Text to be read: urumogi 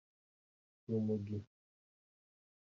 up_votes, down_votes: 2, 0